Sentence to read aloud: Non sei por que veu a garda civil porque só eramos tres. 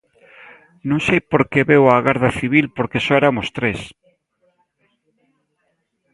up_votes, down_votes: 1, 2